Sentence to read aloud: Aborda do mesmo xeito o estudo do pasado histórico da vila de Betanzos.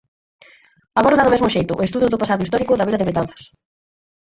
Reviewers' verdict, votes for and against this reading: rejected, 0, 4